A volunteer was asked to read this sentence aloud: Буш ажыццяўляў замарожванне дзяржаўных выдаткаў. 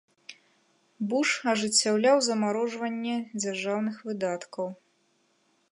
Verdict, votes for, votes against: accepted, 2, 0